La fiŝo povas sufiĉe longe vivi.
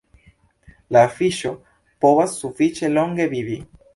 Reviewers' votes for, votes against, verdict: 1, 2, rejected